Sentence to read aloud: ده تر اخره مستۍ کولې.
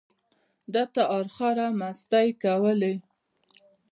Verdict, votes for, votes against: rejected, 0, 2